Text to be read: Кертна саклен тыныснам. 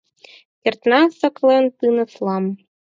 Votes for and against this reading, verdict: 2, 4, rejected